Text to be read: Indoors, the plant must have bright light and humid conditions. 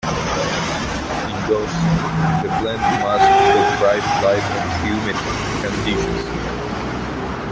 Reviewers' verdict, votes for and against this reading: rejected, 0, 2